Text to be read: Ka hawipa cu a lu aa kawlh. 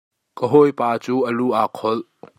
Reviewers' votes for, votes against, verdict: 1, 2, rejected